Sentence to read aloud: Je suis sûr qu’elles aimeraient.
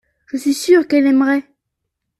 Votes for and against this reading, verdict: 0, 2, rejected